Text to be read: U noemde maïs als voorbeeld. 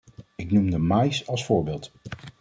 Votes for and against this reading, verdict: 0, 2, rejected